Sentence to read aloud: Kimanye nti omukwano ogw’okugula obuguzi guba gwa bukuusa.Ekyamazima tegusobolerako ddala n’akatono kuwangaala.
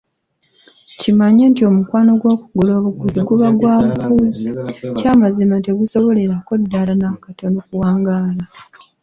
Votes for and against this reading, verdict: 1, 2, rejected